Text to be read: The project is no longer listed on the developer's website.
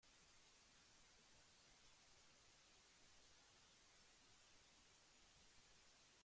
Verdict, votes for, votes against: rejected, 0, 2